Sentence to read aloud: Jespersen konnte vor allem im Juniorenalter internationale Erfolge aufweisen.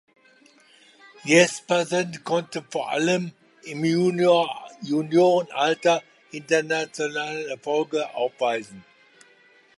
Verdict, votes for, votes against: rejected, 0, 2